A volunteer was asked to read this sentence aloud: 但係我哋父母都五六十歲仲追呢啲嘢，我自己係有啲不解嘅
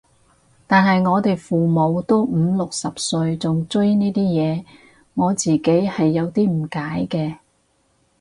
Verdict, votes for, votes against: rejected, 0, 2